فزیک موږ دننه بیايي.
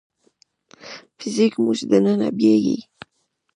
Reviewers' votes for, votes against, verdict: 0, 2, rejected